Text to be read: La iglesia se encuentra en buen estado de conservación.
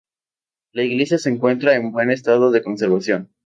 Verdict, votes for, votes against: accepted, 2, 0